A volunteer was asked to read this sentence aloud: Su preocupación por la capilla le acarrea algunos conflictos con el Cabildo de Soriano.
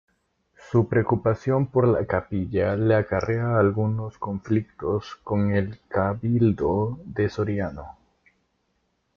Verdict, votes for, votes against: accepted, 2, 0